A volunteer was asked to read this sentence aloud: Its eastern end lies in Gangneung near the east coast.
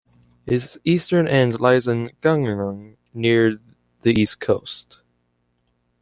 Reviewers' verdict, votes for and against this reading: rejected, 0, 2